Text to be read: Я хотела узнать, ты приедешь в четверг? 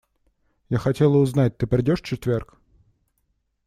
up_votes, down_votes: 1, 2